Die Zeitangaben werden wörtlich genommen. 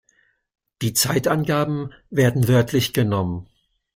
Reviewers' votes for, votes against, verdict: 2, 0, accepted